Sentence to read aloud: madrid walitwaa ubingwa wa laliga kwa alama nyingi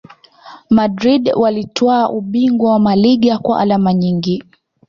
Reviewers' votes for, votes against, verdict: 2, 1, accepted